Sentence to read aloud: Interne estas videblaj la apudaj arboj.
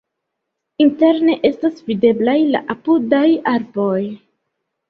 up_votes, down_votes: 2, 0